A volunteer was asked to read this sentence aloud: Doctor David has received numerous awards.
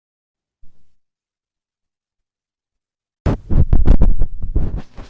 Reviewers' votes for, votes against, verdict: 0, 2, rejected